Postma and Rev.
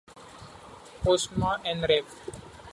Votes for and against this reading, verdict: 2, 1, accepted